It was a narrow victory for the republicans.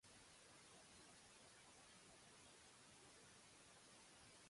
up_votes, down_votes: 0, 2